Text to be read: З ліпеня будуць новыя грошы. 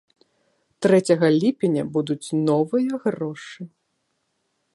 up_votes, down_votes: 1, 2